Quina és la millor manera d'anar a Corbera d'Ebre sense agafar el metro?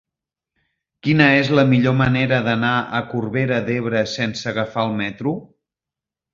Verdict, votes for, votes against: accepted, 3, 0